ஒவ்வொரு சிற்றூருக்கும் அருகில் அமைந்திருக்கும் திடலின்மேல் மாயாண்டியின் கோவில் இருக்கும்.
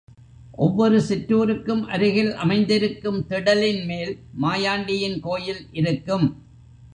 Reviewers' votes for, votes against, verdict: 0, 2, rejected